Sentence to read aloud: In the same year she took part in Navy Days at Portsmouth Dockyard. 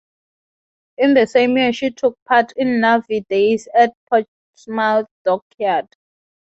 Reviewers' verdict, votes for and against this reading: accepted, 6, 0